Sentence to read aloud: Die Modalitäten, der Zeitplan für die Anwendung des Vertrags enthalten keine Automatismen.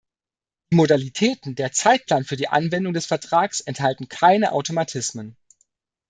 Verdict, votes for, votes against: rejected, 1, 2